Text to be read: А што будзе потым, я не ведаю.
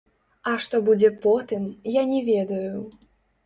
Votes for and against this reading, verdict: 1, 2, rejected